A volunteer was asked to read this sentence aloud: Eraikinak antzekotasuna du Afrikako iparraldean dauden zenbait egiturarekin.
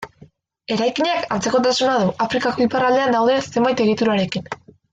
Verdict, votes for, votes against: rejected, 1, 2